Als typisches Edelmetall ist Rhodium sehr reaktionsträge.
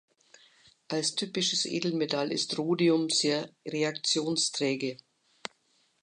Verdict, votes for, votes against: accepted, 2, 0